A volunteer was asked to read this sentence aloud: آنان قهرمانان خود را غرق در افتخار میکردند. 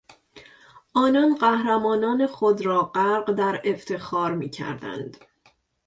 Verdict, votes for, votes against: accepted, 2, 0